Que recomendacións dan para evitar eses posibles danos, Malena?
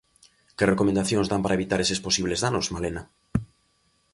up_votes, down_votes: 2, 0